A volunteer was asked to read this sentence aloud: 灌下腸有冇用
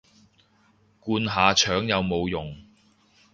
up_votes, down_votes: 2, 0